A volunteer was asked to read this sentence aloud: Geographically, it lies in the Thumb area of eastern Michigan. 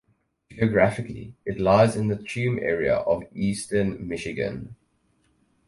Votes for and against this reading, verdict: 0, 4, rejected